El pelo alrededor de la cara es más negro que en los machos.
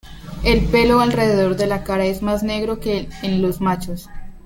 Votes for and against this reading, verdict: 2, 0, accepted